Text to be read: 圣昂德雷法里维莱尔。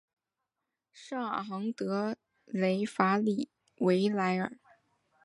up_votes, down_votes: 3, 0